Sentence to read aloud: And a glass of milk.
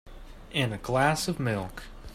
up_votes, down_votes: 4, 0